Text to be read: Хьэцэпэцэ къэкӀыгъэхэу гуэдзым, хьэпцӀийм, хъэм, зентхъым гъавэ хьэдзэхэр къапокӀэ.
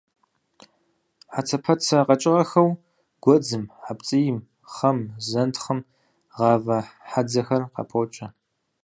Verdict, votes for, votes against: accepted, 4, 0